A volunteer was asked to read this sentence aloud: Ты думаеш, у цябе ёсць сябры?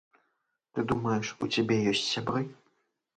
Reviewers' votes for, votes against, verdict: 2, 0, accepted